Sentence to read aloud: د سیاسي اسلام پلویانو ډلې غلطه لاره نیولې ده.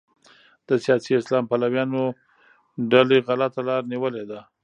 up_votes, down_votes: 1, 2